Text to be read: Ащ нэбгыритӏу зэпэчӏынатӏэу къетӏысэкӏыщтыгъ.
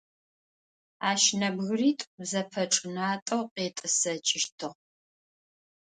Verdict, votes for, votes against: accepted, 2, 0